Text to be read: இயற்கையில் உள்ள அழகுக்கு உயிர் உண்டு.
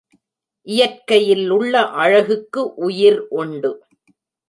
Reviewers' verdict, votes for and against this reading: accepted, 3, 0